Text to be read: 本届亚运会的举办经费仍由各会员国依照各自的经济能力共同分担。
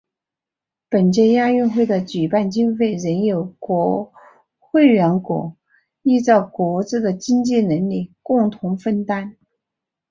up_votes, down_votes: 1, 2